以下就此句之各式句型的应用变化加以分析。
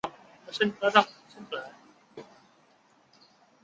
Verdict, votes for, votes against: rejected, 0, 2